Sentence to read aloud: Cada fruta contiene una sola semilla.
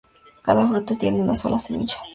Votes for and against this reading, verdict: 0, 2, rejected